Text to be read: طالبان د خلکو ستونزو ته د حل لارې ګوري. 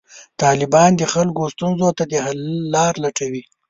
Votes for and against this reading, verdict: 1, 2, rejected